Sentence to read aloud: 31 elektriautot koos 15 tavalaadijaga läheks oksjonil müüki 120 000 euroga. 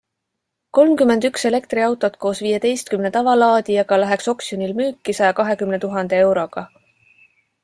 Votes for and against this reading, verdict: 0, 2, rejected